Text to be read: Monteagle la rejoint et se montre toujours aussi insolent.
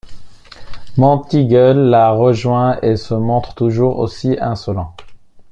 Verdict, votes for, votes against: accepted, 2, 0